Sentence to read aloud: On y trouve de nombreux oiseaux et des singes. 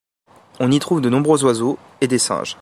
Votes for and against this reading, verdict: 2, 0, accepted